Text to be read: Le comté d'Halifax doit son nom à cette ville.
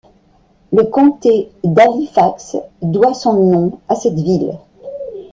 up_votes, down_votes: 1, 2